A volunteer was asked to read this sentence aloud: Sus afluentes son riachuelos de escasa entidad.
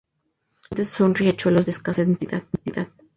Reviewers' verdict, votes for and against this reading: rejected, 0, 2